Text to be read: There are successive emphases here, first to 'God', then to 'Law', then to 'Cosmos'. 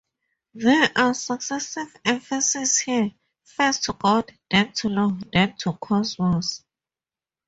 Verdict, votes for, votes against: accepted, 2, 0